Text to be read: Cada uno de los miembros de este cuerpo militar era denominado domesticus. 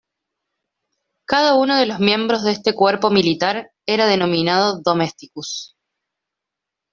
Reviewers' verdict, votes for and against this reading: accepted, 2, 0